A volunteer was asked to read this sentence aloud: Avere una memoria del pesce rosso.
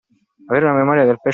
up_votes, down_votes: 0, 2